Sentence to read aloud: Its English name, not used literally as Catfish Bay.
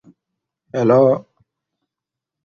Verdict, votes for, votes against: rejected, 0, 2